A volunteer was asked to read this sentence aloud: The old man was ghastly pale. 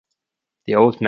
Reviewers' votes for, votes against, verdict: 0, 2, rejected